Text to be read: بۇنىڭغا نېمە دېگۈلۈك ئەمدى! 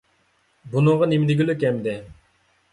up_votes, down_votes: 2, 1